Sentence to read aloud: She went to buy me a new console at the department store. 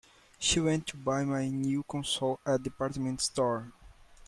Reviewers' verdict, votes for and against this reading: rejected, 0, 2